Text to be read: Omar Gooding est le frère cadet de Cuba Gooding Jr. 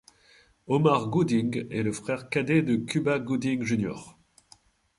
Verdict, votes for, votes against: accepted, 2, 0